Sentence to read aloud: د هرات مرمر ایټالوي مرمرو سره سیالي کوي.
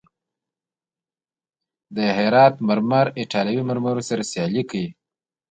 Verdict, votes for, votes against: rejected, 1, 2